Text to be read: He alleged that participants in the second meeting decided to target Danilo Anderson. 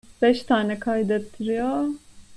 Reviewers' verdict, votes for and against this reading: rejected, 0, 2